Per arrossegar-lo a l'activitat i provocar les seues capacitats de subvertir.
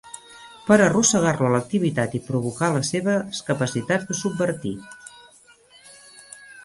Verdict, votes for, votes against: rejected, 0, 2